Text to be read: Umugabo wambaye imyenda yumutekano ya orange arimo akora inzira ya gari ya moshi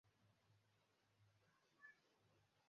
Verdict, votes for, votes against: rejected, 0, 2